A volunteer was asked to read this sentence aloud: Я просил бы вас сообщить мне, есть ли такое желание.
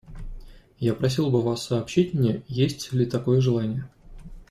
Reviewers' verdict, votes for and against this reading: accepted, 2, 0